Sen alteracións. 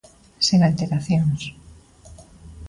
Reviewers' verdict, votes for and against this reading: accepted, 2, 0